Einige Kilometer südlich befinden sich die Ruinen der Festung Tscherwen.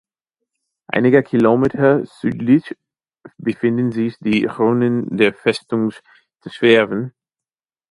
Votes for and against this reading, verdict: 1, 2, rejected